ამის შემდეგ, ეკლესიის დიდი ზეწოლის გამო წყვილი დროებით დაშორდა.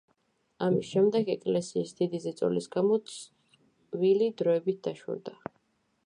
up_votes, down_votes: 2, 0